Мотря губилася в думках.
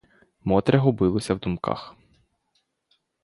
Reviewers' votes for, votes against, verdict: 2, 0, accepted